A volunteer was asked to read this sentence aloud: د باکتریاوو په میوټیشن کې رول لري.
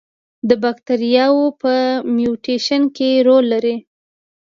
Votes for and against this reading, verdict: 2, 0, accepted